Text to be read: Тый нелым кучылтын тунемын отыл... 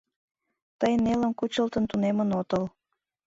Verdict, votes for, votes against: accepted, 2, 0